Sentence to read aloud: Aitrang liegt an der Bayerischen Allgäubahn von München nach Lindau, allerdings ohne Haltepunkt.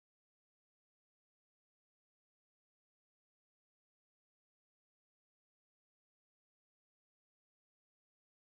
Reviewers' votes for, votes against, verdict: 0, 2, rejected